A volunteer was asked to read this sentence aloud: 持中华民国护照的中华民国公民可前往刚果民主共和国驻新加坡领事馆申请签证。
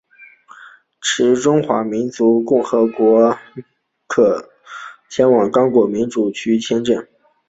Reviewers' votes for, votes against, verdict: 2, 3, rejected